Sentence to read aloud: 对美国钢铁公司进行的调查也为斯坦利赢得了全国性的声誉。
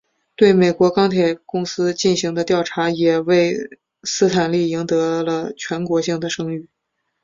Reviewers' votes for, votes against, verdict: 2, 0, accepted